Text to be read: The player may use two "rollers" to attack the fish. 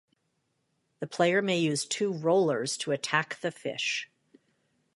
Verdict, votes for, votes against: accepted, 2, 0